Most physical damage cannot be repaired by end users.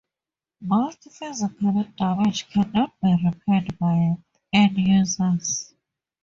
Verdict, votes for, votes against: rejected, 0, 4